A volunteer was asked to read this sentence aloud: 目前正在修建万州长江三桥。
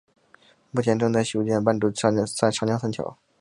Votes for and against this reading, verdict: 1, 3, rejected